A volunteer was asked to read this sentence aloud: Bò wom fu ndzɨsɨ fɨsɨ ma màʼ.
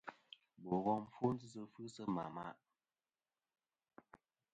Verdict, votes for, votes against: rejected, 1, 2